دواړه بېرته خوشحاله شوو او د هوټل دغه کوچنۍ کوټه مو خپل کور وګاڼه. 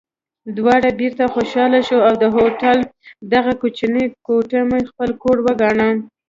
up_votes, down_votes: 1, 2